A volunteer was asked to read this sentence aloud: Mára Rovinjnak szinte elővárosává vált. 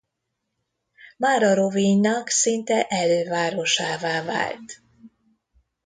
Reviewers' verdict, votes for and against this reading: accepted, 2, 0